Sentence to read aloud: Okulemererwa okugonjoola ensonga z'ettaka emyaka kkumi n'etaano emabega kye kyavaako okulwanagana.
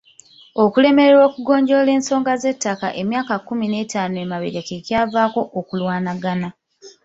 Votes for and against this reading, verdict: 2, 1, accepted